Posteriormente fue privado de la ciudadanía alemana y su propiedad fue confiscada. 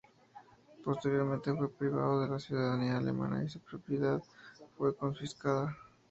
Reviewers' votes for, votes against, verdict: 2, 0, accepted